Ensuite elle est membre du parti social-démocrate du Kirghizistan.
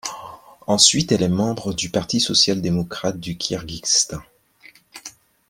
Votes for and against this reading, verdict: 0, 2, rejected